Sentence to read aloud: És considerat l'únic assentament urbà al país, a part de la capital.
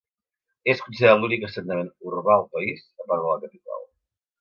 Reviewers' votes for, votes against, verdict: 0, 2, rejected